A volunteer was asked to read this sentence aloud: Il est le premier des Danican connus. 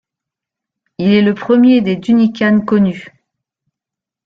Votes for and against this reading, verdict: 0, 2, rejected